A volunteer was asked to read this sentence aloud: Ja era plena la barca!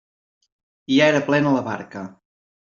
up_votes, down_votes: 2, 0